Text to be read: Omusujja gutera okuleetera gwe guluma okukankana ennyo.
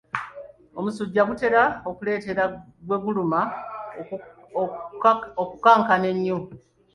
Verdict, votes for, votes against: accepted, 2, 0